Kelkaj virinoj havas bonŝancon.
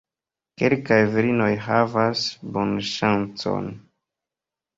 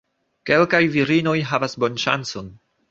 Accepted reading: second